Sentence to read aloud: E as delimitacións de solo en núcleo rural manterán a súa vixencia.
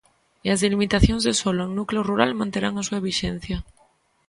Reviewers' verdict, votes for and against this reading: accepted, 2, 0